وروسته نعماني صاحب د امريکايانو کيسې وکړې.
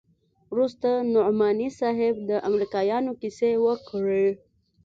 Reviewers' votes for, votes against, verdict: 2, 0, accepted